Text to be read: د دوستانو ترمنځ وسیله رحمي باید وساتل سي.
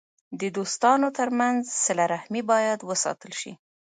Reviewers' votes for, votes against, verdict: 2, 0, accepted